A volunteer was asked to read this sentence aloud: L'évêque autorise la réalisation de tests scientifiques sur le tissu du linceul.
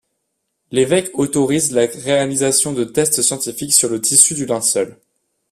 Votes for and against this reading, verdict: 2, 0, accepted